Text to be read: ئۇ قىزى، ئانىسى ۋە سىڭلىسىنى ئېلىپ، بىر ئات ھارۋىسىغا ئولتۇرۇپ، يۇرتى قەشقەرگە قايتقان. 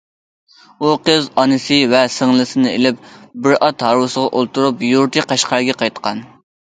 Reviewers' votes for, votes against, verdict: 2, 0, accepted